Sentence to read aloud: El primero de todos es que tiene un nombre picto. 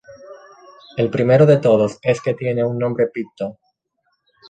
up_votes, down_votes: 0, 2